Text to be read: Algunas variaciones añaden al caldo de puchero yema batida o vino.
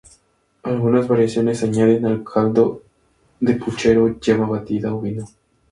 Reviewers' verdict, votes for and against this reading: accepted, 2, 0